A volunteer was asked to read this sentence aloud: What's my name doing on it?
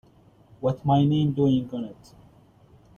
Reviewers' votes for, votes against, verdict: 0, 2, rejected